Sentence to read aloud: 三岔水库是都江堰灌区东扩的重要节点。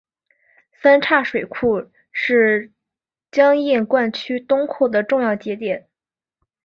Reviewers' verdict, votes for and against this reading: rejected, 2, 3